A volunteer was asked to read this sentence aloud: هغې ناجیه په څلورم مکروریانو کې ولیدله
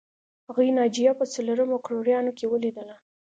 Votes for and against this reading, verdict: 2, 0, accepted